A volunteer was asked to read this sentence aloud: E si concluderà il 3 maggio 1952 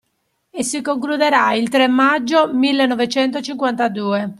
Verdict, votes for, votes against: rejected, 0, 2